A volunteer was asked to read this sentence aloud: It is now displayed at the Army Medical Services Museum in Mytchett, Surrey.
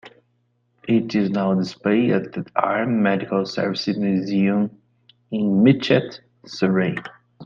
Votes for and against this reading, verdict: 1, 2, rejected